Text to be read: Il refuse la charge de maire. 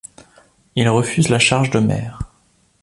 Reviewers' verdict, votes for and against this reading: accepted, 3, 0